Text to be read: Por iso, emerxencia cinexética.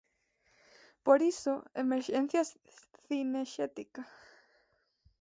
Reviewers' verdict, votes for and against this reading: rejected, 0, 2